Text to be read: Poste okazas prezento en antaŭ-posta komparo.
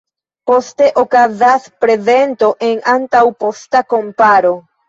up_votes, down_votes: 2, 0